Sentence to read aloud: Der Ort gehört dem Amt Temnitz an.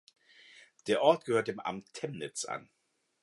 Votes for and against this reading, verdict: 2, 0, accepted